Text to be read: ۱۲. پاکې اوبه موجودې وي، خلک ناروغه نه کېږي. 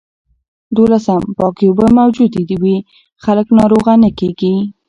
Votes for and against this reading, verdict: 0, 2, rejected